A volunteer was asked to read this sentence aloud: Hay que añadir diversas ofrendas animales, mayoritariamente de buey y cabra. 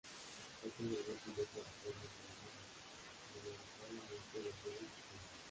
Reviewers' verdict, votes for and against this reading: rejected, 0, 2